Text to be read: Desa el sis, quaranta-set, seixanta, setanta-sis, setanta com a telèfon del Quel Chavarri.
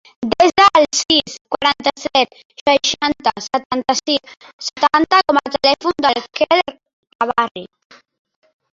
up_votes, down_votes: 1, 2